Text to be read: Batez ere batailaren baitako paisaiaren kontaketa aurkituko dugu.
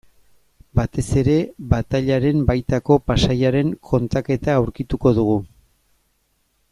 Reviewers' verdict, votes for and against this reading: accepted, 2, 1